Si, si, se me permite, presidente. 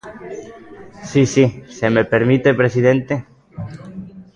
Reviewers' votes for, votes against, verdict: 1, 2, rejected